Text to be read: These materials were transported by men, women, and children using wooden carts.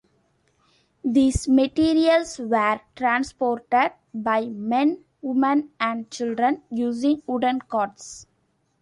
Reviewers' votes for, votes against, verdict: 2, 0, accepted